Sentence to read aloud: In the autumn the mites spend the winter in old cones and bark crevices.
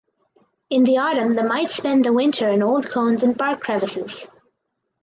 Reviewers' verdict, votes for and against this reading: accepted, 4, 0